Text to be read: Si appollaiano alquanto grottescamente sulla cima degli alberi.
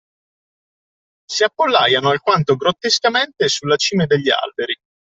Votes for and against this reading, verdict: 2, 1, accepted